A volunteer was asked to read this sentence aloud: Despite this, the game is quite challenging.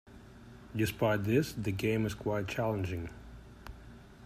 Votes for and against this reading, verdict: 2, 1, accepted